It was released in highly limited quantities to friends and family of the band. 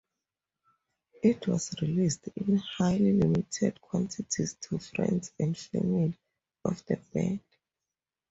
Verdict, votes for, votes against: accepted, 2, 0